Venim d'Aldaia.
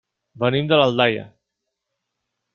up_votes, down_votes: 0, 3